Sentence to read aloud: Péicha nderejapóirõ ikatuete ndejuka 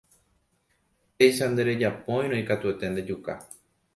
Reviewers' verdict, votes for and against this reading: accepted, 2, 0